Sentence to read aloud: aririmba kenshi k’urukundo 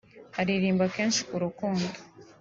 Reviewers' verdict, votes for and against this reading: accepted, 2, 0